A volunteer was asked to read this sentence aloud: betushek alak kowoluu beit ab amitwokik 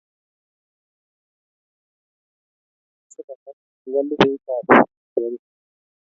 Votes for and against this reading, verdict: 1, 2, rejected